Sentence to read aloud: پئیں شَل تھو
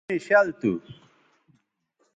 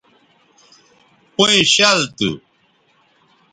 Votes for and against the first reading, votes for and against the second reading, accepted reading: 0, 2, 2, 0, second